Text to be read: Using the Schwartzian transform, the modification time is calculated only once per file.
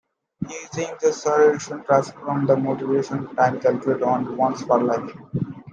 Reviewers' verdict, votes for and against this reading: rejected, 0, 2